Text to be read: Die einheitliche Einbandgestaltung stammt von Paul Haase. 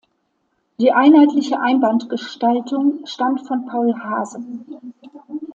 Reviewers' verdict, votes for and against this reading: accepted, 2, 0